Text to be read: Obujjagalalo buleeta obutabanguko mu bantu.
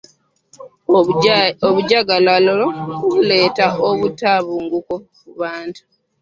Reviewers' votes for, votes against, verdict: 0, 2, rejected